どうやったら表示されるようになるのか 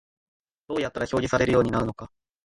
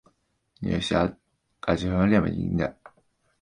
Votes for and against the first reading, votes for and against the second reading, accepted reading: 2, 0, 0, 2, first